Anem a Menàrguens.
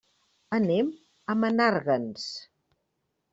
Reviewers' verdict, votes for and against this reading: accepted, 2, 0